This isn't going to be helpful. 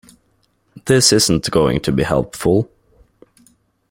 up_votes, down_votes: 2, 0